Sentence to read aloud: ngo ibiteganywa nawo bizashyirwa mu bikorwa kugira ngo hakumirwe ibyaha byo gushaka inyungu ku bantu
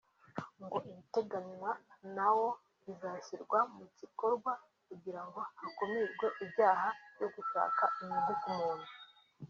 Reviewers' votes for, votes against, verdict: 0, 2, rejected